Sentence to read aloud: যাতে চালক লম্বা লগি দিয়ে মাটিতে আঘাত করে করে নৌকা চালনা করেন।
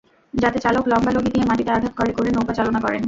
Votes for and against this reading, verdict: 2, 0, accepted